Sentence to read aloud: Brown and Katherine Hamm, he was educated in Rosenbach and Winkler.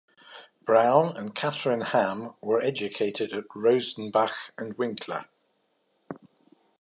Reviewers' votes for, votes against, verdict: 0, 2, rejected